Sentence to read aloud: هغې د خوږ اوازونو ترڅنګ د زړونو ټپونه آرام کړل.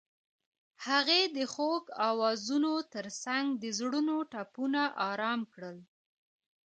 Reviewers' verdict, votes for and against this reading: accepted, 2, 1